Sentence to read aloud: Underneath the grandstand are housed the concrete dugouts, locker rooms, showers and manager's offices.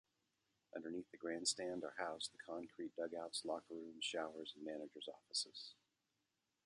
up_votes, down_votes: 2, 0